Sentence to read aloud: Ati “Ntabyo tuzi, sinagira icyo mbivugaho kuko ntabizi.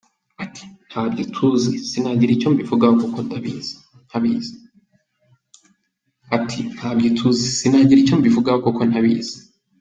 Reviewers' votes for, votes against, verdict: 1, 2, rejected